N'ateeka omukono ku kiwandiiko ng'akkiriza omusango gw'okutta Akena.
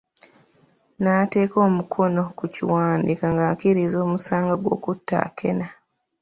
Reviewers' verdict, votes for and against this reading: accepted, 2, 0